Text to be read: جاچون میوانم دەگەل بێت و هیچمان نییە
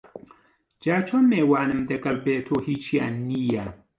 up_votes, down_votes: 0, 2